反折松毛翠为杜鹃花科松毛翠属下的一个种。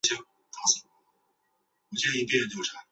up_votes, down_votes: 0, 2